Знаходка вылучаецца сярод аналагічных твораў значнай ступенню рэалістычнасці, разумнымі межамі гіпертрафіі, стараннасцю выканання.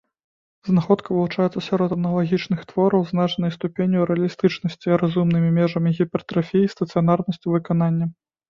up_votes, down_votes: 0, 2